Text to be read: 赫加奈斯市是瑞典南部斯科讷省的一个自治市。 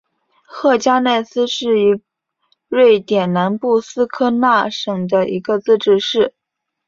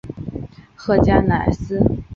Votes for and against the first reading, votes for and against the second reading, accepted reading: 2, 1, 0, 2, first